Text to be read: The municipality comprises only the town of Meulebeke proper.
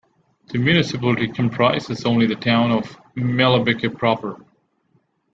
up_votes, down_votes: 2, 0